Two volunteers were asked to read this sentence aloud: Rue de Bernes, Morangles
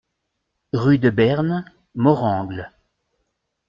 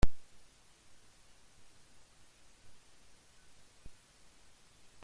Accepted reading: first